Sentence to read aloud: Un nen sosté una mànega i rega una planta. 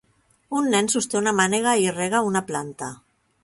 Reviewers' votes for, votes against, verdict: 3, 0, accepted